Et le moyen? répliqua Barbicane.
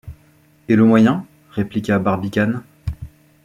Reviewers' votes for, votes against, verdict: 2, 0, accepted